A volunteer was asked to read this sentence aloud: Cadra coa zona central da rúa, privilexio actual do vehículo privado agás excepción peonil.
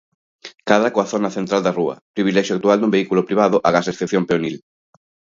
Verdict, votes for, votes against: accepted, 2, 0